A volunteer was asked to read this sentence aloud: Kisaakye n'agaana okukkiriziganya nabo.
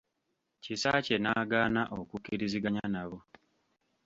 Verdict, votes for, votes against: accepted, 2, 0